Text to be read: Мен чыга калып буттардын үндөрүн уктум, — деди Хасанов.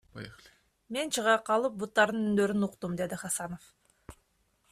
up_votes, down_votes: 0, 2